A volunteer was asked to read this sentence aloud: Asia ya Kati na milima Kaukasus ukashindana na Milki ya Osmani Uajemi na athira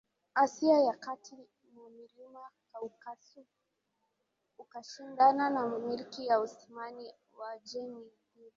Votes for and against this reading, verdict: 2, 3, rejected